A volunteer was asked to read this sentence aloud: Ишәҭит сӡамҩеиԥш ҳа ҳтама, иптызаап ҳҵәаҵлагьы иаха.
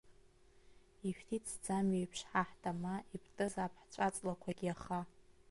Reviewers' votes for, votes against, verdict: 0, 2, rejected